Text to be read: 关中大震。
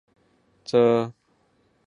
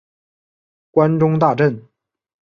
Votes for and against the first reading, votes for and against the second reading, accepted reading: 0, 2, 5, 0, second